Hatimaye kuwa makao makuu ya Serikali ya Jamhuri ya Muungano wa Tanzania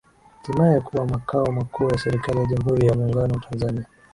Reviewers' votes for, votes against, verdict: 2, 0, accepted